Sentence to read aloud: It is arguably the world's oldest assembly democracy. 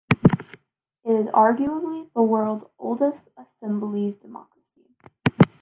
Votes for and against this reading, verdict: 2, 0, accepted